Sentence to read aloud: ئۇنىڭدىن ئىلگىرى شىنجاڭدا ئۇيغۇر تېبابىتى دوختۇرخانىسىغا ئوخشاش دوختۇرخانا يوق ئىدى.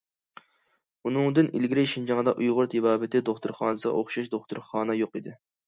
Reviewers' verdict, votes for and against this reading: accepted, 2, 0